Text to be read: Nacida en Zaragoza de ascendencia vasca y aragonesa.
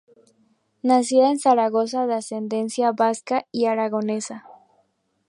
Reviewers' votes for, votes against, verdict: 2, 0, accepted